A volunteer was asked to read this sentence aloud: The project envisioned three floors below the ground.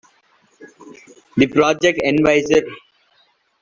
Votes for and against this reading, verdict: 0, 2, rejected